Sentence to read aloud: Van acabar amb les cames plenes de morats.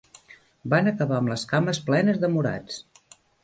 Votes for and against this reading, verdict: 3, 0, accepted